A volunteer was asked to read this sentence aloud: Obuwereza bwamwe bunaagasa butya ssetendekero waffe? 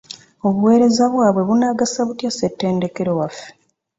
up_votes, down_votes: 0, 2